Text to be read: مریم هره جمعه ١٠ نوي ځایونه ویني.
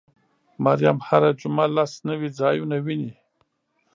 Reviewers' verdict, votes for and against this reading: rejected, 0, 2